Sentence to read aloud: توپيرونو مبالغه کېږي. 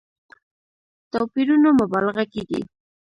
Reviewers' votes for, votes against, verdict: 2, 0, accepted